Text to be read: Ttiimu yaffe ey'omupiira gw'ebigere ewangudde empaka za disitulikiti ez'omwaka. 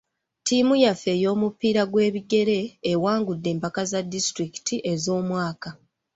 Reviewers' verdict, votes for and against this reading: accepted, 3, 1